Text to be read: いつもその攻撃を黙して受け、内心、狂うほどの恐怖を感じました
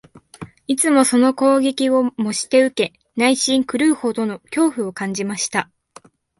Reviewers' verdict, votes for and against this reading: rejected, 0, 2